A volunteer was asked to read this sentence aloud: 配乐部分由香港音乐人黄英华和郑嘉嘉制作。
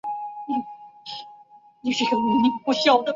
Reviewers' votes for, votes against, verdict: 1, 2, rejected